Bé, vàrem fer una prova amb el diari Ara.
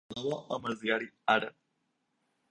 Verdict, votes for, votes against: rejected, 0, 4